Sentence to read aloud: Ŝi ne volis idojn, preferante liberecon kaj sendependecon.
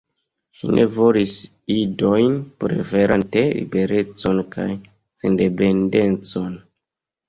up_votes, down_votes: 0, 2